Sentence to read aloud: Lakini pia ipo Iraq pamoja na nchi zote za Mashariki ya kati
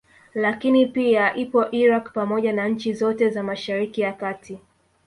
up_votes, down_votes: 2, 0